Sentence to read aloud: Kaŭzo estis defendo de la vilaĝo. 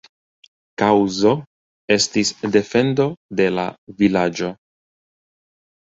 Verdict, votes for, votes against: accepted, 2, 0